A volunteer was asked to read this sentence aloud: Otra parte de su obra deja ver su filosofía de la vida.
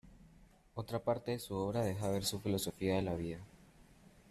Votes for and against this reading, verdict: 0, 2, rejected